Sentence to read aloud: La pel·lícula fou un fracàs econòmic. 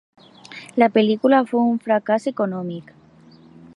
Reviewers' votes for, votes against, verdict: 3, 1, accepted